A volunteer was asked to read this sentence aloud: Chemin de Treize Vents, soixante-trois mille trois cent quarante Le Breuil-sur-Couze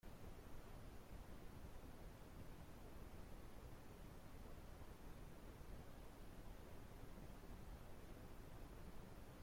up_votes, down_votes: 0, 2